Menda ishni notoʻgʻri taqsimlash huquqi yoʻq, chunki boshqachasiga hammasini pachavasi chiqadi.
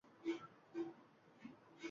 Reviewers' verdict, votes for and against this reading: rejected, 0, 2